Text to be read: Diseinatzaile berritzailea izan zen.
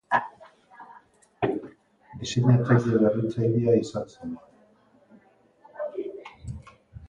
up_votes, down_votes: 0, 2